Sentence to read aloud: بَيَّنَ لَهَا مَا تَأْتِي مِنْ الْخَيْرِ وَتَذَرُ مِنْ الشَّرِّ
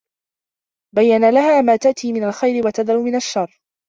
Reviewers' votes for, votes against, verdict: 2, 0, accepted